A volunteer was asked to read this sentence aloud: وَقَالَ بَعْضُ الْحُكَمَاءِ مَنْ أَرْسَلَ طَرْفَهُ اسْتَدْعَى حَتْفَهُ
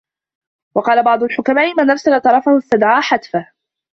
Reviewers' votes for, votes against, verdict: 0, 2, rejected